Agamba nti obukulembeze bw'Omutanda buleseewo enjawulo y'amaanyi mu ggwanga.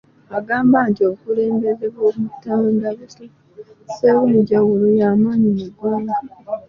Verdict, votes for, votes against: rejected, 0, 2